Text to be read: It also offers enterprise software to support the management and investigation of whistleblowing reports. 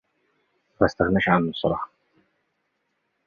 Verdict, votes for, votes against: rejected, 0, 2